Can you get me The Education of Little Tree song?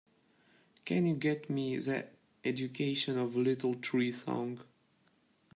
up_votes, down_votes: 2, 1